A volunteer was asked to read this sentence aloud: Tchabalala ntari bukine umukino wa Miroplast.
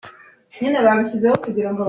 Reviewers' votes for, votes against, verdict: 0, 2, rejected